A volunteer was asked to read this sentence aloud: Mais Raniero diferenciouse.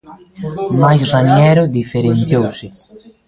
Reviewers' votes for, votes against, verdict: 1, 2, rejected